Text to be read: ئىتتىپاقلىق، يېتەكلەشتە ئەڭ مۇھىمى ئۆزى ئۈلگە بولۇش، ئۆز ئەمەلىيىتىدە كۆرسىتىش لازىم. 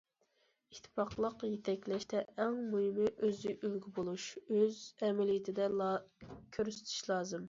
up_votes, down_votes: 0, 2